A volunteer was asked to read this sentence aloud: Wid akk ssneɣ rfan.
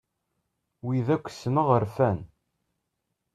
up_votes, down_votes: 2, 0